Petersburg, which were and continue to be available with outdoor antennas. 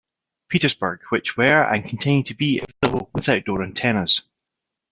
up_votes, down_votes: 0, 2